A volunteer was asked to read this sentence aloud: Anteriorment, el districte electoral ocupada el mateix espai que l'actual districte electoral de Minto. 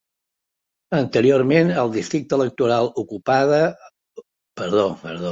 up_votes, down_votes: 0, 2